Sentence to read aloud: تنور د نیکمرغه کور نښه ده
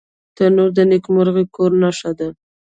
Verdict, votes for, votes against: rejected, 1, 2